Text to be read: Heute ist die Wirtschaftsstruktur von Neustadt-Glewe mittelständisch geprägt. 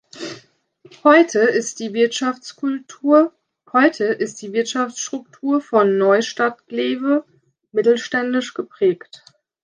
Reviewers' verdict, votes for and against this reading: rejected, 0, 2